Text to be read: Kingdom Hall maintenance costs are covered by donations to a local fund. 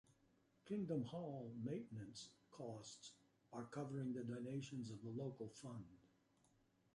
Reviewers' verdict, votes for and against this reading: accepted, 2, 1